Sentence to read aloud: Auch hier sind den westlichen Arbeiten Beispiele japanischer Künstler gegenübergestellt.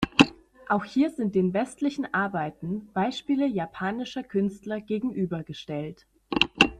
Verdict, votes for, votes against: accepted, 2, 0